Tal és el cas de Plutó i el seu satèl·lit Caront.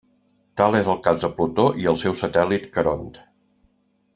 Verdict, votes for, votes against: accepted, 2, 1